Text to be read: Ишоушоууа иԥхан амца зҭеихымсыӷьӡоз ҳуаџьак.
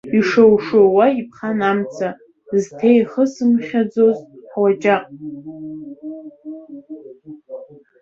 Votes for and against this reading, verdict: 0, 2, rejected